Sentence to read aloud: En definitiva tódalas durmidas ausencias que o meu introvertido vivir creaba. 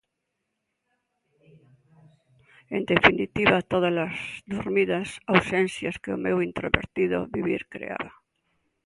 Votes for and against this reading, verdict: 2, 0, accepted